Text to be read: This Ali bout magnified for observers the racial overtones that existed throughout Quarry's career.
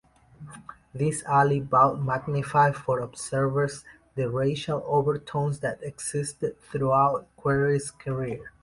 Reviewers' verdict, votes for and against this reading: rejected, 0, 2